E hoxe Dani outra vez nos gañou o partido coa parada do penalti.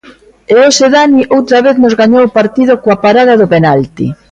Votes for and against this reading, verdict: 2, 0, accepted